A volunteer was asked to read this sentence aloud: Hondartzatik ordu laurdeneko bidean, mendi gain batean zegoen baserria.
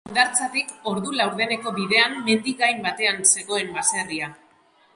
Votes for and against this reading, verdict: 1, 2, rejected